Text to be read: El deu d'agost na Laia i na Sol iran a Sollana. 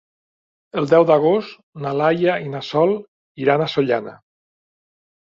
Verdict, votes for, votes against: accepted, 3, 0